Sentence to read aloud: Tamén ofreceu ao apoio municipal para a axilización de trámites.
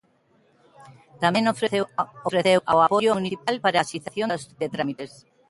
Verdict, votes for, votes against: rejected, 0, 2